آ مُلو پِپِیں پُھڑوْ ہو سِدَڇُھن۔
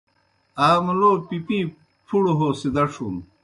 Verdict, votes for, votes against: accepted, 2, 0